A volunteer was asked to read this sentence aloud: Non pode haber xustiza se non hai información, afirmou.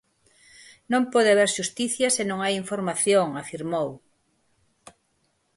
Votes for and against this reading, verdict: 0, 6, rejected